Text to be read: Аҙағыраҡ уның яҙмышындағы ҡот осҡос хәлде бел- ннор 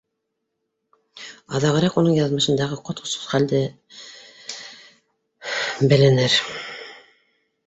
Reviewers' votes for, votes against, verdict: 1, 2, rejected